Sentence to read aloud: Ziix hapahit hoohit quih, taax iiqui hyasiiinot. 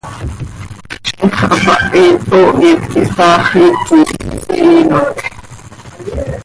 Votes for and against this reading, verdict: 0, 2, rejected